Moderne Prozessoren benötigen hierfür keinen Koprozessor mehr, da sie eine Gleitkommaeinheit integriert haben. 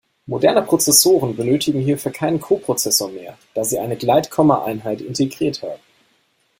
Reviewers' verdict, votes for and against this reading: accepted, 2, 0